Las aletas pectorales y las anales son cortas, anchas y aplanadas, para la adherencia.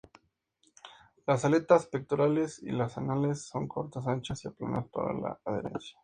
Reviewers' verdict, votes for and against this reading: accepted, 2, 0